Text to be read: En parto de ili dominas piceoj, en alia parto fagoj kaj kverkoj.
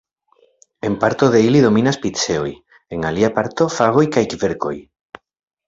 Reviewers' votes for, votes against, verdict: 2, 0, accepted